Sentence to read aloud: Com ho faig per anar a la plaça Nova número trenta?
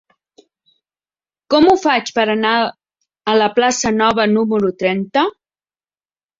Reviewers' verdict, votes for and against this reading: rejected, 1, 2